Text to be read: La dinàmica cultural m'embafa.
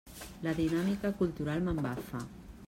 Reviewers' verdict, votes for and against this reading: accepted, 3, 0